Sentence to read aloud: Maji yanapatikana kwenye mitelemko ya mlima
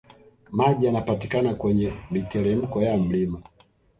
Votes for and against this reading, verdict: 2, 0, accepted